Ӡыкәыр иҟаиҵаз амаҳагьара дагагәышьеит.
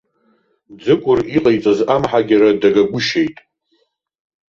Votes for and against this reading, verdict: 1, 2, rejected